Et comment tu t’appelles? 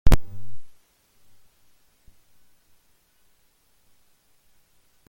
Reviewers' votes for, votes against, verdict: 0, 2, rejected